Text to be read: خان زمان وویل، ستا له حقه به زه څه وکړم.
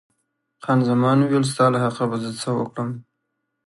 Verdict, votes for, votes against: accepted, 2, 0